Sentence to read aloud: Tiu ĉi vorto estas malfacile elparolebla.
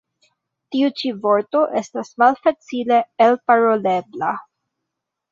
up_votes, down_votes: 1, 2